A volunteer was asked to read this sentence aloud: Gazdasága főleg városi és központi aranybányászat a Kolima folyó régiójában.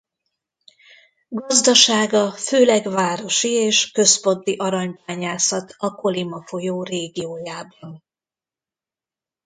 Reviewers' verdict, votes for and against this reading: rejected, 0, 2